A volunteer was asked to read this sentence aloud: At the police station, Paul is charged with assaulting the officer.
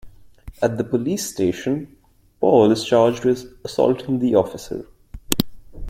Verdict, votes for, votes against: rejected, 1, 2